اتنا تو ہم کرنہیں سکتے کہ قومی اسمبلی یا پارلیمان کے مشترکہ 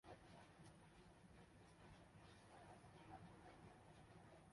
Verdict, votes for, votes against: rejected, 0, 2